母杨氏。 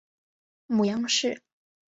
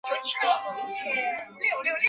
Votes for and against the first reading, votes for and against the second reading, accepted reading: 2, 0, 0, 2, first